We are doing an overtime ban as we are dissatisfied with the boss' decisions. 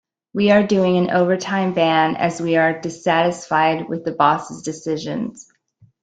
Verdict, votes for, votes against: accepted, 2, 0